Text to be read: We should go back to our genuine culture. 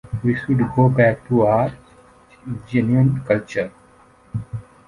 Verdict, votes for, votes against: accepted, 3, 1